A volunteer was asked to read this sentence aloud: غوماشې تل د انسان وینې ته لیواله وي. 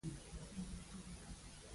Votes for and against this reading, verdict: 0, 4, rejected